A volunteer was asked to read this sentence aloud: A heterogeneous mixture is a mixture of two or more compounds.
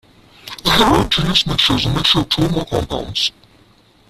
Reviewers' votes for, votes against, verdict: 0, 3, rejected